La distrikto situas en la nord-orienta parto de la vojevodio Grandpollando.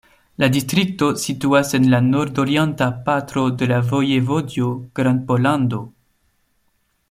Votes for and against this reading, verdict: 0, 2, rejected